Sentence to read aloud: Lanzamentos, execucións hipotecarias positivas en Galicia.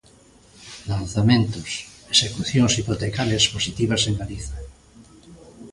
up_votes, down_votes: 1, 2